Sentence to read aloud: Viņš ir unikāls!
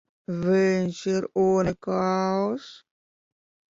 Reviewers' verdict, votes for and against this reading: rejected, 0, 2